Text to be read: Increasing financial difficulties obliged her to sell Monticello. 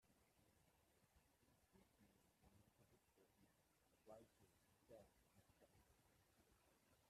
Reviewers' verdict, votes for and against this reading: rejected, 0, 2